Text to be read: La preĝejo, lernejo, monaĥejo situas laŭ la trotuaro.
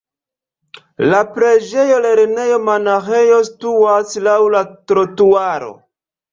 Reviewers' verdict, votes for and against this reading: accepted, 2, 0